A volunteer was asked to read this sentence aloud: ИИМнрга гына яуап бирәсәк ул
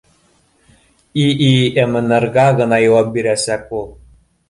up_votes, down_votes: 2, 0